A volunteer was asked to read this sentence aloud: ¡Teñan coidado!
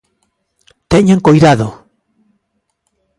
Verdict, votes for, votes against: accepted, 2, 0